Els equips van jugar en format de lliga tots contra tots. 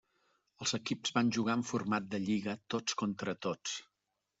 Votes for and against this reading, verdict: 3, 0, accepted